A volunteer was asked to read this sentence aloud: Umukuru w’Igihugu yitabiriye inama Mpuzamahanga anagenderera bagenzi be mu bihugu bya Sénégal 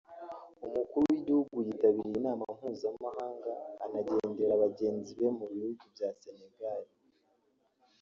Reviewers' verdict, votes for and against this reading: rejected, 0, 2